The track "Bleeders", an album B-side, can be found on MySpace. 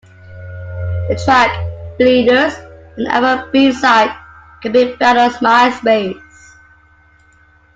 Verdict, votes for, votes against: accepted, 2, 1